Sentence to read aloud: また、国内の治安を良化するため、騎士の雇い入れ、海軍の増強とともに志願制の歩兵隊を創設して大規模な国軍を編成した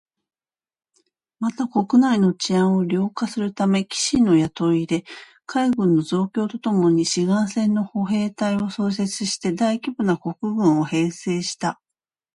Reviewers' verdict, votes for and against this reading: accepted, 2, 0